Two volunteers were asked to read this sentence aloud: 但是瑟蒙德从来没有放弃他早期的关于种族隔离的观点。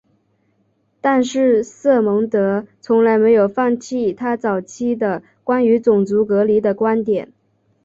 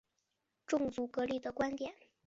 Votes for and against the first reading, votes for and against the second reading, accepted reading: 2, 0, 0, 2, first